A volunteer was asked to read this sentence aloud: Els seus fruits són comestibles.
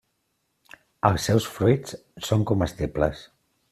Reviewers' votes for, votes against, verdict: 3, 0, accepted